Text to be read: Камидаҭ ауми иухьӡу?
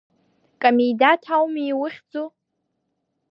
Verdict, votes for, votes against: accepted, 2, 0